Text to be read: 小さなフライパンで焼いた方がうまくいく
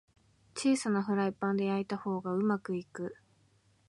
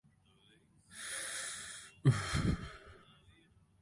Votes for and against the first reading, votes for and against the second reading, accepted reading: 3, 0, 0, 2, first